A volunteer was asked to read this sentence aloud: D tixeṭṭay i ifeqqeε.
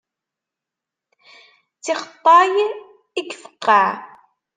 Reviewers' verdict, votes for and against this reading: accepted, 2, 0